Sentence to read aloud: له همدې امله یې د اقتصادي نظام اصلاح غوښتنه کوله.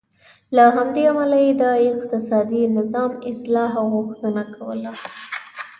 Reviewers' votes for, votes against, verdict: 2, 0, accepted